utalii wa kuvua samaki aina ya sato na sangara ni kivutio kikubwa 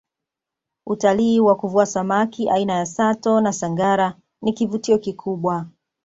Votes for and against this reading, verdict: 2, 0, accepted